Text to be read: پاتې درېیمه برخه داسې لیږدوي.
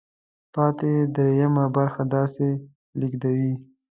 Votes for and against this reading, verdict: 2, 0, accepted